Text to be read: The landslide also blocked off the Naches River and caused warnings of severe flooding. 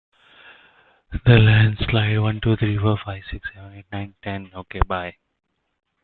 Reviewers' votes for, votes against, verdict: 0, 2, rejected